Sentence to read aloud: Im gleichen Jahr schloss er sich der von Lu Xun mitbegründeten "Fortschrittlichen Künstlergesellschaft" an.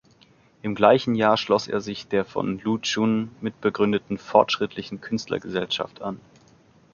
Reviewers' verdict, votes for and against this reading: rejected, 0, 2